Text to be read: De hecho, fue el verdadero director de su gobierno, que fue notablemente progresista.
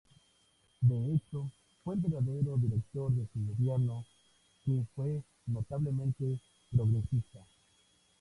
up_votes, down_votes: 2, 0